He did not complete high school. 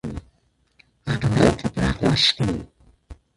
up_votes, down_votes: 0, 2